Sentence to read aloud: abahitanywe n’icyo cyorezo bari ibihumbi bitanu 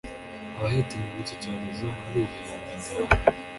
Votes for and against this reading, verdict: 1, 2, rejected